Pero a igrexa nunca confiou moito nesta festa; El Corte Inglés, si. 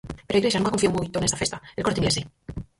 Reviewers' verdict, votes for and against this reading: rejected, 0, 4